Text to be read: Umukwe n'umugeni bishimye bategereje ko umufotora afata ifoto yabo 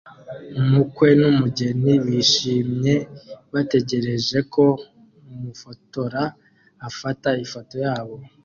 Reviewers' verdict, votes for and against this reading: accepted, 2, 0